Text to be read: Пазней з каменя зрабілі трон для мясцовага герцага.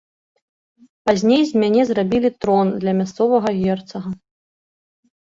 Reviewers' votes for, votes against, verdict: 0, 2, rejected